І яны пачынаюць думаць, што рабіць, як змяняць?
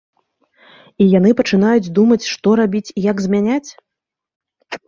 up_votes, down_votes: 2, 1